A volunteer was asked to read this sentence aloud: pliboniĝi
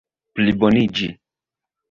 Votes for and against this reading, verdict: 2, 0, accepted